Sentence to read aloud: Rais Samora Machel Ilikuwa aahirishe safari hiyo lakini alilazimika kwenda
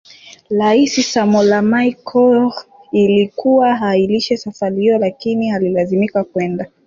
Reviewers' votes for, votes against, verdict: 2, 3, rejected